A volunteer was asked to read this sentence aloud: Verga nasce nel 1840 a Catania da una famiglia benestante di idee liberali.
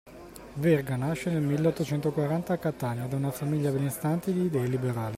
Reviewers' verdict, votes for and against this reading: rejected, 0, 2